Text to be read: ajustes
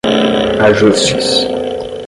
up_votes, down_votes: 5, 0